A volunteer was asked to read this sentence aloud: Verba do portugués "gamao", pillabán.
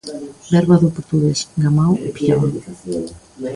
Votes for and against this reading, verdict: 1, 2, rejected